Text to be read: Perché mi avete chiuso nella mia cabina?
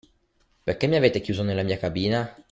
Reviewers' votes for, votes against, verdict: 2, 0, accepted